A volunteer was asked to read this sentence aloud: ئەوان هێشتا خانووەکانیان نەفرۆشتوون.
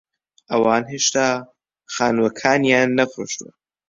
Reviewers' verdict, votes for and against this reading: accepted, 2, 0